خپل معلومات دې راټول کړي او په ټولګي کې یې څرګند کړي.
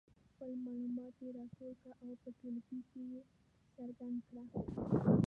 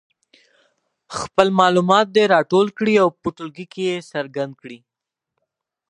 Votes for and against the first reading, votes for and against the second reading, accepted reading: 0, 2, 4, 0, second